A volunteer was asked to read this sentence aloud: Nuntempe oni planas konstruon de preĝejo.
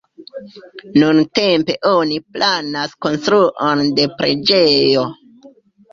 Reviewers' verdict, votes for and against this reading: accepted, 2, 0